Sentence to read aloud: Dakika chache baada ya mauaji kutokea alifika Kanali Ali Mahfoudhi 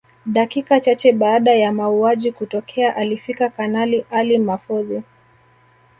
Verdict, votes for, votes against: accepted, 2, 0